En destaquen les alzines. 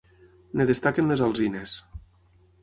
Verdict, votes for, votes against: rejected, 0, 6